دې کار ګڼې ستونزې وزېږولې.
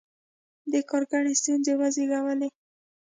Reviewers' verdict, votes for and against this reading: accepted, 2, 0